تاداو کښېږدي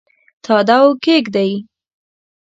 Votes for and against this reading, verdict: 2, 1, accepted